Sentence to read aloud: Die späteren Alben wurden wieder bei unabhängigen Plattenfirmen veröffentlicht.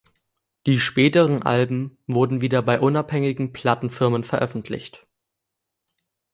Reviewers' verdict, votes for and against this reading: accepted, 2, 0